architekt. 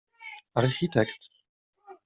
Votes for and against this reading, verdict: 1, 2, rejected